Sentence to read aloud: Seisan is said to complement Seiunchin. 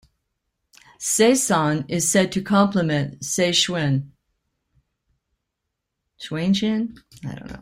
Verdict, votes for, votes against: rejected, 1, 2